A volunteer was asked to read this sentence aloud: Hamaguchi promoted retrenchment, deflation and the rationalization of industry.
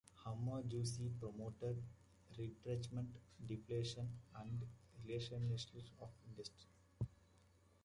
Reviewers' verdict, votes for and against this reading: accepted, 2, 1